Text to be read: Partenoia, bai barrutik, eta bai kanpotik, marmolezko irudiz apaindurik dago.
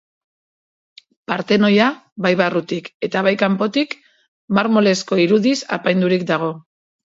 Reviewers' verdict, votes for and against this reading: accepted, 2, 0